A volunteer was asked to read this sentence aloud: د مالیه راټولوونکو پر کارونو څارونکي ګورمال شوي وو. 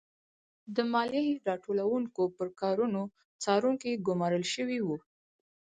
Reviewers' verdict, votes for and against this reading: accepted, 4, 2